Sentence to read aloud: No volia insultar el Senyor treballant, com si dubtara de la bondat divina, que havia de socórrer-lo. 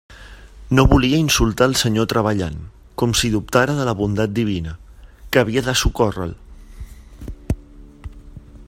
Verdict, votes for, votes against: accepted, 3, 0